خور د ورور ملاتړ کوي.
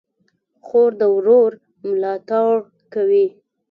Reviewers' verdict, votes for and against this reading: rejected, 1, 2